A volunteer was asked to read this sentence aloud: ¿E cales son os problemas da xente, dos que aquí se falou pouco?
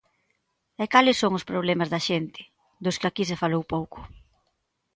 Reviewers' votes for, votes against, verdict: 2, 0, accepted